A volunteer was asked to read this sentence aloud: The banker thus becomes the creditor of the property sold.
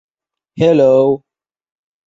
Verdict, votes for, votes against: rejected, 1, 2